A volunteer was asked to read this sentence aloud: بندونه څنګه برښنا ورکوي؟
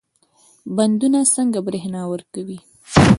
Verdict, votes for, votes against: accepted, 2, 0